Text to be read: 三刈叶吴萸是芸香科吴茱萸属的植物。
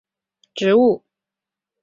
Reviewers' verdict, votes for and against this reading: rejected, 0, 4